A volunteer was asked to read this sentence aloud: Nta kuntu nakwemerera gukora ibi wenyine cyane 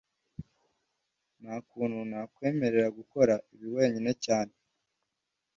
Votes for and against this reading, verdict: 2, 0, accepted